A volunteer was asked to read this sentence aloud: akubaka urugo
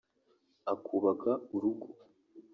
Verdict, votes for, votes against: rejected, 1, 2